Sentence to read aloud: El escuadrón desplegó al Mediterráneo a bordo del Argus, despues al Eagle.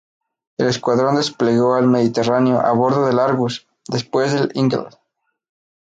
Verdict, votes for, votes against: rejected, 0, 2